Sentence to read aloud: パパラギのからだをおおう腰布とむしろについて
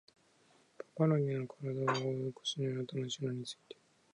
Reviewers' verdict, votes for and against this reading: rejected, 0, 2